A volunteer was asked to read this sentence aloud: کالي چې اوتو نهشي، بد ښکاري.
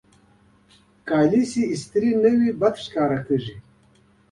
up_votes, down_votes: 0, 2